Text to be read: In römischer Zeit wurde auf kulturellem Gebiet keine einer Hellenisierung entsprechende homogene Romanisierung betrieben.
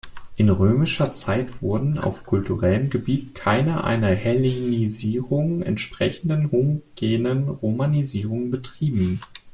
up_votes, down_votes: 2, 0